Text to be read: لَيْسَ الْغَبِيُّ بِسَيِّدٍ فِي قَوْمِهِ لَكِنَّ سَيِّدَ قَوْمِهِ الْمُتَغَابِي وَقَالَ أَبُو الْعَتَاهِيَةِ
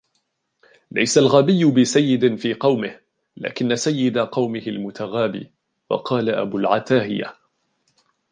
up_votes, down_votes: 1, 2